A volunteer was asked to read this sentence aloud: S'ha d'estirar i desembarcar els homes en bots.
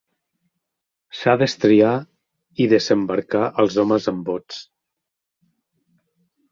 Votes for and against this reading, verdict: 0, 3, rejected